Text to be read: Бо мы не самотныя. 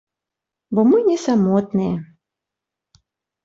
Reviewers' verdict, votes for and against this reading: accepted, 3, 0